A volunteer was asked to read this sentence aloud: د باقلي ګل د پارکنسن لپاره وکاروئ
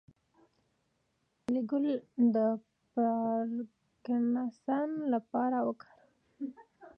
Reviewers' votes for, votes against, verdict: 1, 2, rejected